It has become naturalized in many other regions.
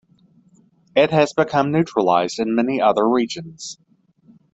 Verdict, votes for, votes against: accepted, 2, 1